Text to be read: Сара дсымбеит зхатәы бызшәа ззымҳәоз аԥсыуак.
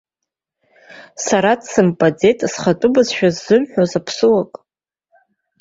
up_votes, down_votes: 2, 1